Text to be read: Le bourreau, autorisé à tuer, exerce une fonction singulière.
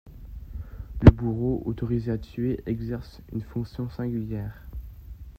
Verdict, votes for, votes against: accepted, 3, 0